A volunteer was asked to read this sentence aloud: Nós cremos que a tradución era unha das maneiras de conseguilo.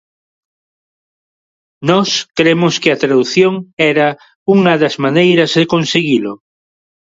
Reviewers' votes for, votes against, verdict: 2, 1, accepted